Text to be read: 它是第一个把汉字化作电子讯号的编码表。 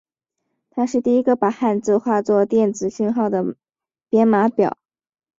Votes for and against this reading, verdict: 4, 0, accepted